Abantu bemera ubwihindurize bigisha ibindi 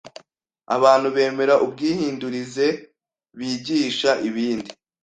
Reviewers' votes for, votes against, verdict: 2, 0, accepted